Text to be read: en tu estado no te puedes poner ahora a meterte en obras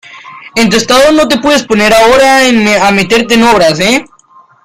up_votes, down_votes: 0, 2